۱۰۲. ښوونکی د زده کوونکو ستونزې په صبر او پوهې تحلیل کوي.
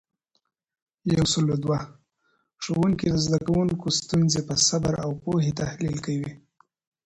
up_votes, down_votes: 0, 2